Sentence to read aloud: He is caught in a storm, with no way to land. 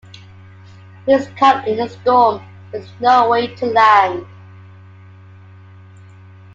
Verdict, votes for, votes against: accepted, 2, 1